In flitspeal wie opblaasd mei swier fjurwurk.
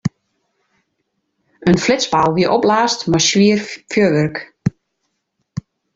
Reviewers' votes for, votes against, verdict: 0, 2, rejected